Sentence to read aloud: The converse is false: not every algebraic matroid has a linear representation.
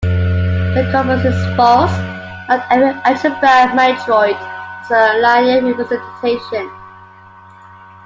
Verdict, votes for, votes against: rejected, 0, 2